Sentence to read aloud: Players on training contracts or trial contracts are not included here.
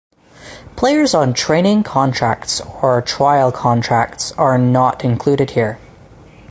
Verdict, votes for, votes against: accepted, 2, 0